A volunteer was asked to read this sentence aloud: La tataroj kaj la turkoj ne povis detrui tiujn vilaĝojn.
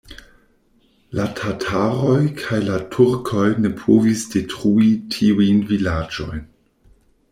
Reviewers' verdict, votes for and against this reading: rejected, 1, 2